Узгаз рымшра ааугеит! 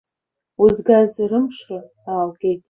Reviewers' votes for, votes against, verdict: 2, 1, accepted